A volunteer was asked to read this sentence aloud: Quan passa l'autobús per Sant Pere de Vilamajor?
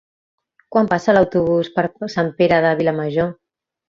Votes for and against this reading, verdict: 1, 2, rejected